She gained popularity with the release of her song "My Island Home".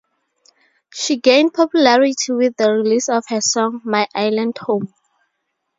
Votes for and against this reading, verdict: 4, 0, accepted